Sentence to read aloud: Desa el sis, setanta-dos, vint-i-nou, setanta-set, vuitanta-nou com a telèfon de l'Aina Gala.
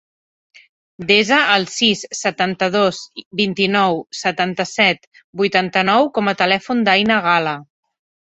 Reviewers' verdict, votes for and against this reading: rejected, 0, 3